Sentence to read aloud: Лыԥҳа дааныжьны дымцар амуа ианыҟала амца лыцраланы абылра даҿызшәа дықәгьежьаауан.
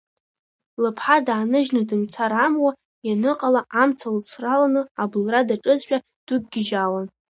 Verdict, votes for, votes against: accepted, 2, 1